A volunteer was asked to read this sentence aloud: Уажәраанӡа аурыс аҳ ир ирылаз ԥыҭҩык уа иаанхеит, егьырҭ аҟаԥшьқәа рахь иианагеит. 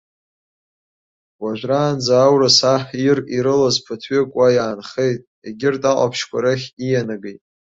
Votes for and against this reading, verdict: 3, 0, accepted